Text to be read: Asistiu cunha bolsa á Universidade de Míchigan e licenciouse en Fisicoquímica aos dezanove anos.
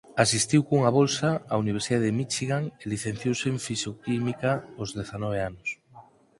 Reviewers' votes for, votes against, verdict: 0, 4, rejected